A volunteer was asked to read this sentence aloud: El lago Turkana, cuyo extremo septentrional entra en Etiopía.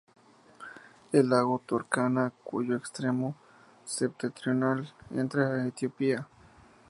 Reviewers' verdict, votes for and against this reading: accepted, 2, 0